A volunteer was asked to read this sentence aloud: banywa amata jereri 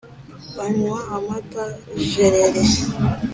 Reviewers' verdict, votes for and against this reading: accepted, 3, 0